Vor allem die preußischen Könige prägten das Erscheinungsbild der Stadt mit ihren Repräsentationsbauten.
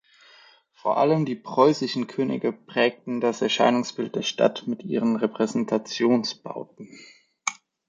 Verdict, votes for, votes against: accepted, 2, 0